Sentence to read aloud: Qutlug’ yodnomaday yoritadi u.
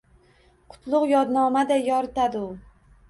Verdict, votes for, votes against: accepted, 2, 0